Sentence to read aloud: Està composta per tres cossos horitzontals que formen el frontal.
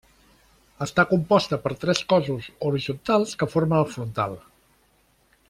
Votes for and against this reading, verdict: 0, 2, rejected